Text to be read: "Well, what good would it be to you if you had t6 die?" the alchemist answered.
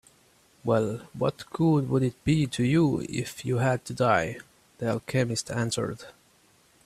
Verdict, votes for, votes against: rejected, 0, 2